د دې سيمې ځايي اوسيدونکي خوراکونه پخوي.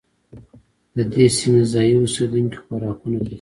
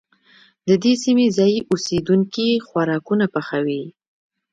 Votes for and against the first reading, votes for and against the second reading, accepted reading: 0, 2, 2, 0, second